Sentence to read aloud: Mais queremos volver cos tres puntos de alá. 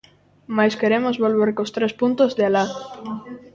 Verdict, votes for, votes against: rejected, 0, 2